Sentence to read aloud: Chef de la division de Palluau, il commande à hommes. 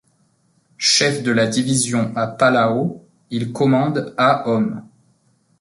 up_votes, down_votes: 0, 2